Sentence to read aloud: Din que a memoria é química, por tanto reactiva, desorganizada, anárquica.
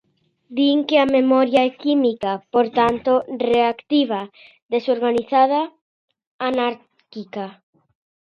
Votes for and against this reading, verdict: 0, 2, rejected